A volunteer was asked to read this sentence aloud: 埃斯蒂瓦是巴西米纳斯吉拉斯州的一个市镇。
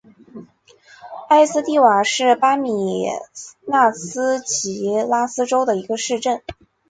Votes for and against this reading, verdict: 2, 1, accepted